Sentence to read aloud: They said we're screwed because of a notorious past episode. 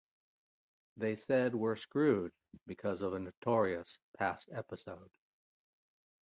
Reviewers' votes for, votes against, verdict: 2, 0, accepted